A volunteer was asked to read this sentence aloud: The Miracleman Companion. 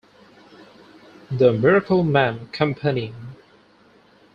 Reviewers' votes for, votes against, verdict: 0, 4, rejected